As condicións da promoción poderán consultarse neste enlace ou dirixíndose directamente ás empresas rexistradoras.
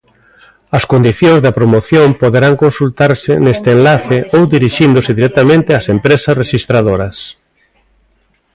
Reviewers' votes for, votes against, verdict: 2, 1, accepted